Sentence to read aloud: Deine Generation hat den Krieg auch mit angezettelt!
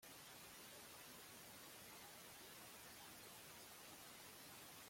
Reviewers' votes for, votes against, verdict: 0, 2, rejected